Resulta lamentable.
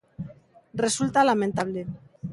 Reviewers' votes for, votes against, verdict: 2, 0, accepted